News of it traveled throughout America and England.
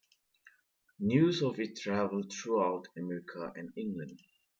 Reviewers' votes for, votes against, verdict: 2, 1, accepted